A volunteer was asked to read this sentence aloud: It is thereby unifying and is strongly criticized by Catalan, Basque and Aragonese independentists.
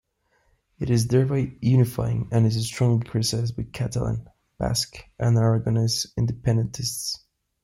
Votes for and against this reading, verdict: 1, 2, rejected